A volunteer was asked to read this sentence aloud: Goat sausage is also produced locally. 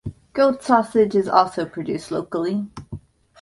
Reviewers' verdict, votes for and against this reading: accepted, 2, 0